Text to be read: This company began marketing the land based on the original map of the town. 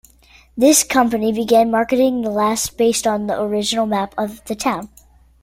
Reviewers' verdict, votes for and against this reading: rejected, 0, 2